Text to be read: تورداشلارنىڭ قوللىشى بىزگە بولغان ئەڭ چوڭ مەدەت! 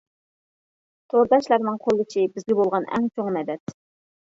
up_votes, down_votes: 0, 2